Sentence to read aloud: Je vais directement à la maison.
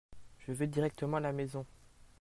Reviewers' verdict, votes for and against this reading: accepted, 2, 0